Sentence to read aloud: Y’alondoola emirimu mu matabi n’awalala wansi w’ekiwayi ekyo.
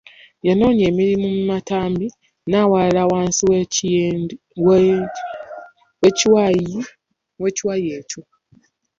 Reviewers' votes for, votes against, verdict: 0, 2, rejected